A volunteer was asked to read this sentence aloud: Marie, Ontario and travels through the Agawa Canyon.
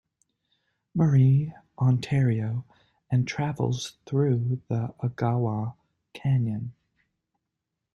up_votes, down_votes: 2, 0